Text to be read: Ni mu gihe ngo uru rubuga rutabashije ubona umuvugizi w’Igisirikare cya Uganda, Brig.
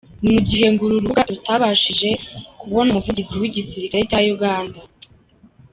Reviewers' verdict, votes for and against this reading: rejected, 0, 2